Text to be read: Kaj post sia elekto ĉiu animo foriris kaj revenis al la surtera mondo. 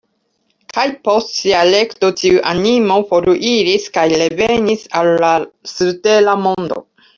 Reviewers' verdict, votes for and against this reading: rejected, 0, 2